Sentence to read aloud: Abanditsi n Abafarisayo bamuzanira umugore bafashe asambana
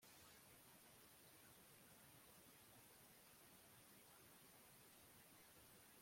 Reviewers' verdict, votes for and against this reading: rejected, 0, 2